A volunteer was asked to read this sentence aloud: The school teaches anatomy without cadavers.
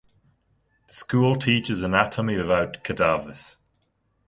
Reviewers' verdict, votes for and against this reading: rejected, 1, 2